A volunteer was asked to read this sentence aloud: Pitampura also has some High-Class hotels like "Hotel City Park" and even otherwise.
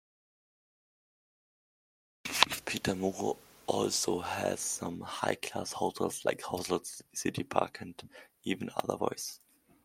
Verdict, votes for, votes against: rejected, 1, 2